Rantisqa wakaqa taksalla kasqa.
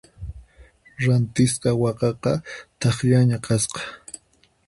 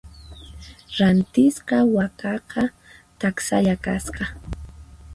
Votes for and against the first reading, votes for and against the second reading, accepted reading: 2, 4, 4, 0, second